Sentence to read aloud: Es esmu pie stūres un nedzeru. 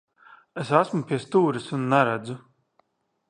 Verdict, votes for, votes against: rejected, 0, 2